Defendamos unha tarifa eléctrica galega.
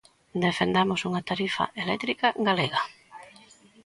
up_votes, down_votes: 2, 0